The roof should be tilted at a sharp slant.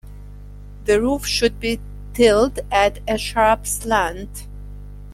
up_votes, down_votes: 0, 2